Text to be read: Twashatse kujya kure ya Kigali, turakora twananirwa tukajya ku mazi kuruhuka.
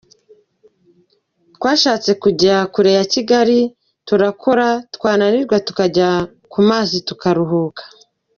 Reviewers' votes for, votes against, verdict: 2, 0, accepted